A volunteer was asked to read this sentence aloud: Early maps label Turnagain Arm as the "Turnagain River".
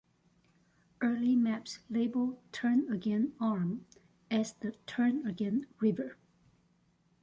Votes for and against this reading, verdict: 3, 0, accepted